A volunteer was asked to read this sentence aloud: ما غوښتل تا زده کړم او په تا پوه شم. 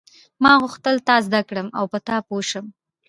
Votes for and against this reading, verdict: 0, 2, rejected